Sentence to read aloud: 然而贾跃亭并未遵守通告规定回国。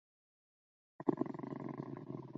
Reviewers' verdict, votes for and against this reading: accepted, 4, 2